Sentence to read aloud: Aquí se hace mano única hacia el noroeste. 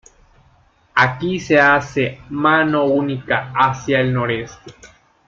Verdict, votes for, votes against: rejected, 2, 3